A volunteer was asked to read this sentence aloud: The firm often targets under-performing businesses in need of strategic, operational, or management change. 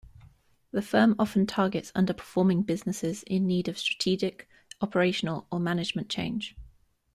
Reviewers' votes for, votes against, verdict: 2, 0, accepted